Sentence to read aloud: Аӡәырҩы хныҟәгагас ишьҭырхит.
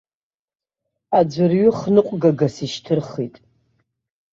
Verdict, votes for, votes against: accepted, 2, 0